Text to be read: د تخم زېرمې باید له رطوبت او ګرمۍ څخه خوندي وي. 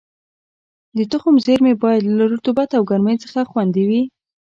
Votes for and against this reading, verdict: 2, 0, accepted